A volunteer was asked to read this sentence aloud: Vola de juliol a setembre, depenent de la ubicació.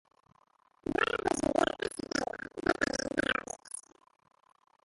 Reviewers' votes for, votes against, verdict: 0, 3, rejected